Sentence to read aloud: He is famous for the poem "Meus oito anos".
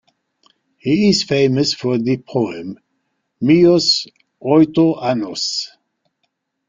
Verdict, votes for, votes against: accepted, 3, 0